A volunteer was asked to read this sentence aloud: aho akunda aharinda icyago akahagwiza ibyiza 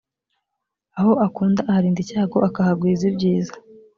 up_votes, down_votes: 2, 0